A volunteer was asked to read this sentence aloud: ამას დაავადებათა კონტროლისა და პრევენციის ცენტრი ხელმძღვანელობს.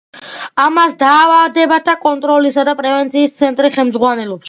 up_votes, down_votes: 2, 0